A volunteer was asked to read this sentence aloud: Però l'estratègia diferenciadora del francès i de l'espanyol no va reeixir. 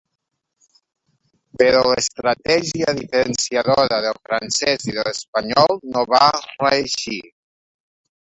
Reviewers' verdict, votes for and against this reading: rejected, 1, 2